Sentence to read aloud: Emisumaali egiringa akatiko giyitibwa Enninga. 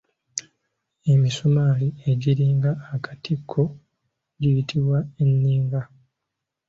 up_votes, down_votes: 2, 0